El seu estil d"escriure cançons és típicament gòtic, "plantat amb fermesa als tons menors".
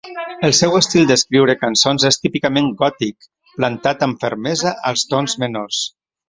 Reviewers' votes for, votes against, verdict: 0, 2, rejected